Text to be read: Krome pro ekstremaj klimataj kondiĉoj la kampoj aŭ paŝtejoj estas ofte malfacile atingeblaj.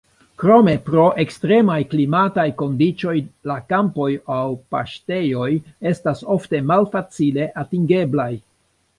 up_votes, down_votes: 2, 0